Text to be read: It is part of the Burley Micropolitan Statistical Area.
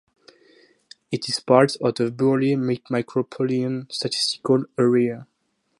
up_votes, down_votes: 0, 2